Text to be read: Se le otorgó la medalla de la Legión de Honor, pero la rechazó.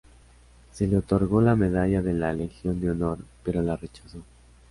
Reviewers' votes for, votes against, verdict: 3, 1, accepted